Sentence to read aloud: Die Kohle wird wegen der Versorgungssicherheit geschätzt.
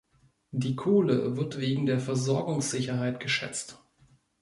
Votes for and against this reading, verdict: 2, 0, accepted